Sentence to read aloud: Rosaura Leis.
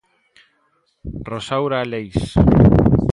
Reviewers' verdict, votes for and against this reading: accepted, 2, 0